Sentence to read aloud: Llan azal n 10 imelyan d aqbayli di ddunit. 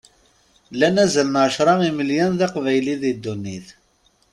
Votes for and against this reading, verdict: 0, 2, rejected